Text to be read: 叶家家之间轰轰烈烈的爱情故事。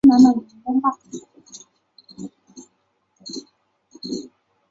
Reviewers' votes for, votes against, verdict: 1, 2, rejected